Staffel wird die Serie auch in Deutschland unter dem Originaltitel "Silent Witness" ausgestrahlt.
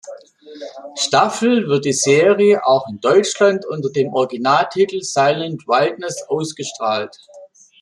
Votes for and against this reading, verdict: 0, 2, rejected